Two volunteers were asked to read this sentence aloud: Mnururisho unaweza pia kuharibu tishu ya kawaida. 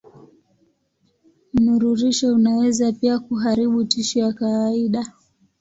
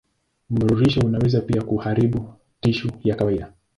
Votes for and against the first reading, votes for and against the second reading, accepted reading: 1, 2, 2, 0, second